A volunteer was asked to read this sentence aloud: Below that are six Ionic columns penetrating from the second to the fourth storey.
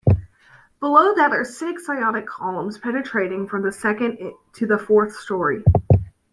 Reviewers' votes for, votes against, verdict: 1, 2, rejected